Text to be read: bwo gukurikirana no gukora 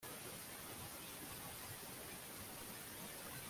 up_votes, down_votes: 1, 2